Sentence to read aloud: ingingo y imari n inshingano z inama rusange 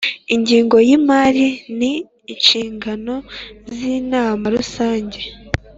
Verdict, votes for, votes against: accepted, 2, 0